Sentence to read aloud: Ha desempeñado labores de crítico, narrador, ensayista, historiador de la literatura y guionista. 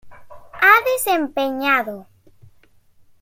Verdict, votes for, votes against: rejected, 0, 2